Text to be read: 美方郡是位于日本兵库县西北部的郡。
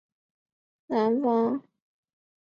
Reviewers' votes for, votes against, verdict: 0, 3, rejected